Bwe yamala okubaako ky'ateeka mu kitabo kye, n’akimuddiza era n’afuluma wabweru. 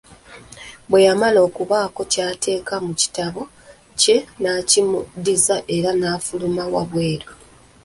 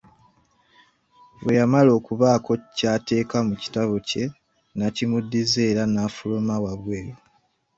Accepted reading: second